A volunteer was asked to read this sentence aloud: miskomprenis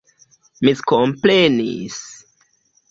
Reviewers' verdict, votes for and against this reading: accepted, 2, 0